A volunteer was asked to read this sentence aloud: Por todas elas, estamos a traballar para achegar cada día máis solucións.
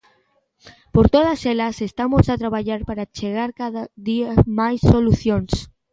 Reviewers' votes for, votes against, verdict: 2, 1, accepted